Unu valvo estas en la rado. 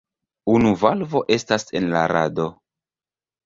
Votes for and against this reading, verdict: 1, 2, rejected